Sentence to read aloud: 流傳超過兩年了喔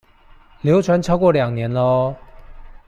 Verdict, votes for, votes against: accepted, 2, 1